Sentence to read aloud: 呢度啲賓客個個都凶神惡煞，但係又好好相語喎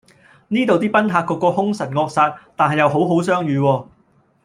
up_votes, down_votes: 1, 2